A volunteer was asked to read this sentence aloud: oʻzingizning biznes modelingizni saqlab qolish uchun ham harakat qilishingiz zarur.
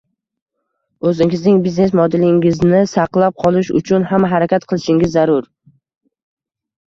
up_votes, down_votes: 0, 2